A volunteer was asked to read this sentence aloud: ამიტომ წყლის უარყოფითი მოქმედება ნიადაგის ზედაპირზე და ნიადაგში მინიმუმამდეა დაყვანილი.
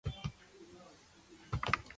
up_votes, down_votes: 0, 2